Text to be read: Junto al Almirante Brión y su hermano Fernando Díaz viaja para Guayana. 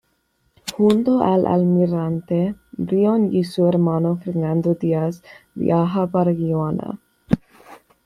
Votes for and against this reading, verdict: 1, 2, rejected